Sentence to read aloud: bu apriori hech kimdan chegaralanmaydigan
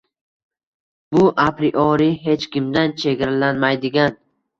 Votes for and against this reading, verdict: 0, 2, rejected